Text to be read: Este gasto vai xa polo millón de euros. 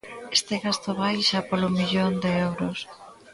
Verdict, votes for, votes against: accepted, 2, 0